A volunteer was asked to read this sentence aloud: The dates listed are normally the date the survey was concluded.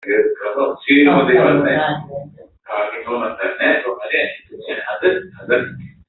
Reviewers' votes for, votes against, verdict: 0, 2, rejected